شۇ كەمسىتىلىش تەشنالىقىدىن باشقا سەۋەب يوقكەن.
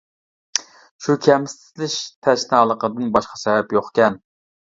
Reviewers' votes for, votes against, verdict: 2, 1, accepted